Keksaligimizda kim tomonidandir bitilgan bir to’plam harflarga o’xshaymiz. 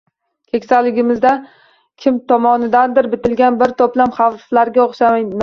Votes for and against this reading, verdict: 0, 2, rejected